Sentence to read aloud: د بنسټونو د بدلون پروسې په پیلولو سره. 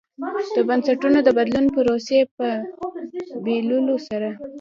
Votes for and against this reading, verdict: 0, 2, rejected